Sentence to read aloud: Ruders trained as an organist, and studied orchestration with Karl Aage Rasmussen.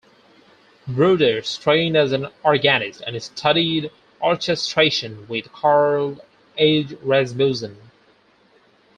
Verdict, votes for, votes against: accepted, 4, 2